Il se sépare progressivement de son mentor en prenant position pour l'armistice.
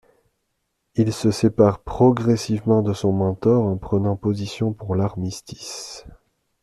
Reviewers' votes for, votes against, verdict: 2, 0, accepted